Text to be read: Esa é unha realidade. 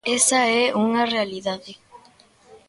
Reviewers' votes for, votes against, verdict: 2, 0, accepted